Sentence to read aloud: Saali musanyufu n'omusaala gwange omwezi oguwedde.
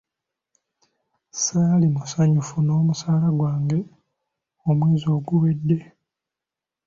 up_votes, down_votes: 2, 0